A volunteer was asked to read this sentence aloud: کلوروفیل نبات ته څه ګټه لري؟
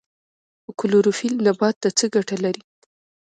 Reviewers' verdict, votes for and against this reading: accepted, 2, 0